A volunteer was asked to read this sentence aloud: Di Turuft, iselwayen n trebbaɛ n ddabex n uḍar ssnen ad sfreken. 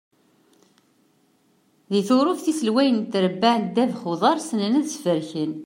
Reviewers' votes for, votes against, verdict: 2, 0, accepted